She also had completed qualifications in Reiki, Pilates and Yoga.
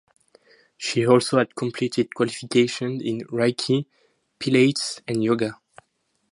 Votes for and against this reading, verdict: 0, 4, rejected